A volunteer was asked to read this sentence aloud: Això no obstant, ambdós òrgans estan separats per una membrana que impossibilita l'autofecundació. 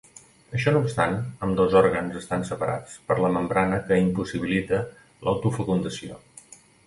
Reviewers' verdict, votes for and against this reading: rejected, 1, 2